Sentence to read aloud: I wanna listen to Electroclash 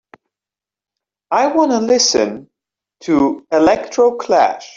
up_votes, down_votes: 2, 0